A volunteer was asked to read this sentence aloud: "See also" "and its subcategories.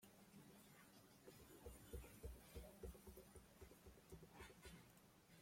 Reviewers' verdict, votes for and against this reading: rejected, 0, 2